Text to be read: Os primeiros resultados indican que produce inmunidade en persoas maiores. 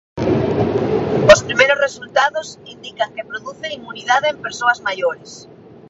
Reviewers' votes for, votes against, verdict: 0, 2, rejected